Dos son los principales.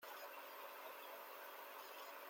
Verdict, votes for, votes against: rejected, 0, 2